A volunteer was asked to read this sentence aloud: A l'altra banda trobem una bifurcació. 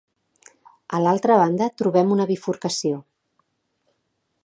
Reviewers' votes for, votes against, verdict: 2, 0, accepted